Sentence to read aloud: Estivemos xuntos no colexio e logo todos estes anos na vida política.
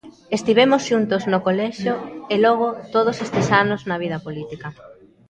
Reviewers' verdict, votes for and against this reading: rejected, 0, 2